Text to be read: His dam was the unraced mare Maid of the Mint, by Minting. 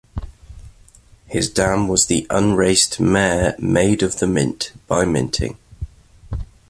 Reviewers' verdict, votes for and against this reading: accepted, 2, 0